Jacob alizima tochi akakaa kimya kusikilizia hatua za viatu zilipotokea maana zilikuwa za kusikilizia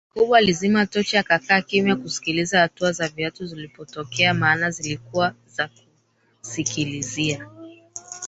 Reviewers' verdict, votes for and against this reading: rejected, 1, 3